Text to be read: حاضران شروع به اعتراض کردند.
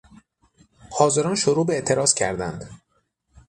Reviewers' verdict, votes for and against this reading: accepted, 6, 0